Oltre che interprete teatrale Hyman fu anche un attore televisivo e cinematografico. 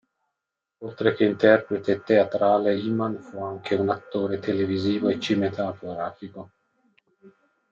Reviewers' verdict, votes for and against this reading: rejected, 0, 2